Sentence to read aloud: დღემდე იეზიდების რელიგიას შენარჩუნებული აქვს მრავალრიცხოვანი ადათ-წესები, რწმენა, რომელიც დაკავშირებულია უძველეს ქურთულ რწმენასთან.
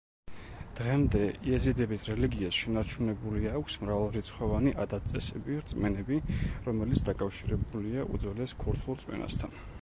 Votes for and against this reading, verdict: 1, 2, rejected